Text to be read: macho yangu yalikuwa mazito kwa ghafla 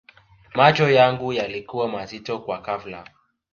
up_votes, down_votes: 2, 0